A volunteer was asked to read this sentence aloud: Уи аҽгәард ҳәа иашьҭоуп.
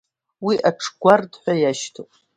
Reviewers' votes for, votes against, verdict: 2, 0, accepted